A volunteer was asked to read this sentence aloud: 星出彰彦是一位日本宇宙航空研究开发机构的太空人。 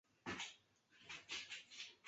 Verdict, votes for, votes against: rejected, 0, 2